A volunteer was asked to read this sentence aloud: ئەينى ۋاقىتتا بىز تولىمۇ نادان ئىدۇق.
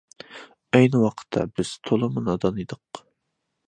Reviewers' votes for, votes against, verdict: 2, 0, accepted